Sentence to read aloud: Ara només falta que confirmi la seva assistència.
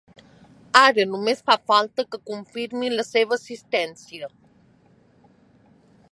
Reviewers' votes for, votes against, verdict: 1, 4, rejected